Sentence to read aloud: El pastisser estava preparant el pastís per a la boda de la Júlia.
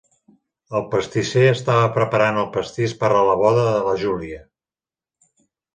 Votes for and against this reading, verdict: 2, 0, accepted